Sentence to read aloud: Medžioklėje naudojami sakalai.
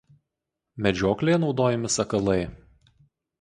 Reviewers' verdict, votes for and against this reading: accepted, 4, 0